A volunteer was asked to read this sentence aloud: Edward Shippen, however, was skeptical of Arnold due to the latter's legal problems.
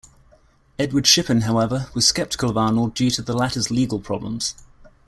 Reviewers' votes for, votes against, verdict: 2, 0, accepted